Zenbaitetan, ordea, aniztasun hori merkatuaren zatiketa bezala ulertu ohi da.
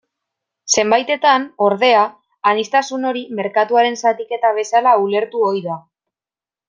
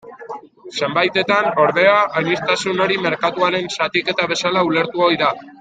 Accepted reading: first